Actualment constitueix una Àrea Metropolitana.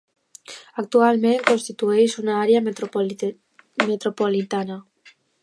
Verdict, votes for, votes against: rejected, 1, 2